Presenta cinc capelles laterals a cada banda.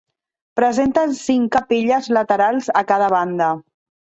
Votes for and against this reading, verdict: 1, 2, rejected